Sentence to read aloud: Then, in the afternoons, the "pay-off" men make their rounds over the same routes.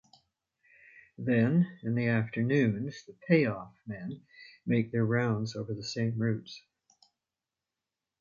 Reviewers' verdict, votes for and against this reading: rejected, 1, 2